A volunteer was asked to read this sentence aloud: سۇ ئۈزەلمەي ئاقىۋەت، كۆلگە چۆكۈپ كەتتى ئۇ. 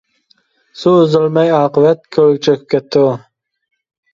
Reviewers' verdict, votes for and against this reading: accepted, 2, 0